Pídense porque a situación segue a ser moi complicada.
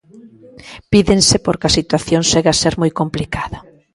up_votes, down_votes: 2, 0